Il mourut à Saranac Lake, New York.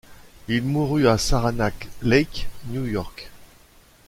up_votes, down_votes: 2, 0